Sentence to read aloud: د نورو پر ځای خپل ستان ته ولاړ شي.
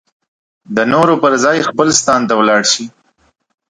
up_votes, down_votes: 4, 0